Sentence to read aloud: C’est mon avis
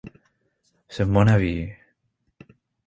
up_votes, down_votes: 2, 0